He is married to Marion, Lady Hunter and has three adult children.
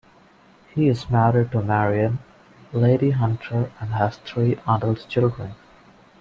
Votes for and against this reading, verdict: 2, 1, accepted